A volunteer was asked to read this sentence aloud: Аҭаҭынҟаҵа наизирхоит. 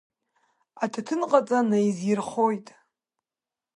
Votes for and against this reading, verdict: 2, 1, accepted